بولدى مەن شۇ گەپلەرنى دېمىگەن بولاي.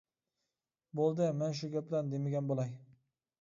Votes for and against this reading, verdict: 2, 0, accepted